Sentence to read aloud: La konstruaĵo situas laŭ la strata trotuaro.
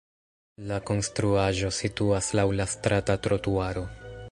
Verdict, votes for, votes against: rejected, 1, 2